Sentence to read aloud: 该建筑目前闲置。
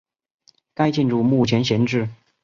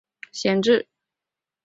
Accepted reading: first